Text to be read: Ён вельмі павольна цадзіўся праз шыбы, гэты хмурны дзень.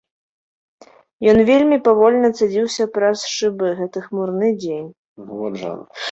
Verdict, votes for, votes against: rejected, 0, 2